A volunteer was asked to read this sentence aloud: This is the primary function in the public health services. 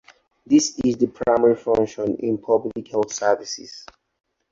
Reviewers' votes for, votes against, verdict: 0, 2, rejected